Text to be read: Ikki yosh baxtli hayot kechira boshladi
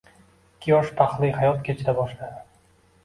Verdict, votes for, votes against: accepted, 2, 1